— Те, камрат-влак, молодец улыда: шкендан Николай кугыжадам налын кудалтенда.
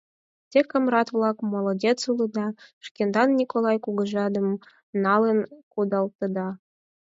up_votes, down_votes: 4, 0